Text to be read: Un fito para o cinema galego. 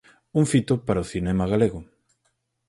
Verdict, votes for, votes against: accepted, 4, 0